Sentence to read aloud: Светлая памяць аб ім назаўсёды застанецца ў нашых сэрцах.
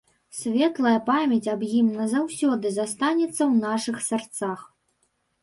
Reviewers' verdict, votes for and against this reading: rejected, 1, 2